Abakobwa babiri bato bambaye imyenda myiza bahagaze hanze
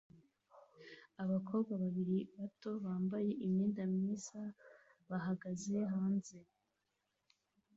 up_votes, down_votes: 1, 2